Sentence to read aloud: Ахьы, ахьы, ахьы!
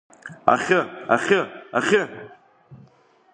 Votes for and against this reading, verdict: 2, 0, accepted